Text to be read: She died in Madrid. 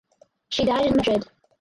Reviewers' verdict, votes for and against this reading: accepted, 4, 0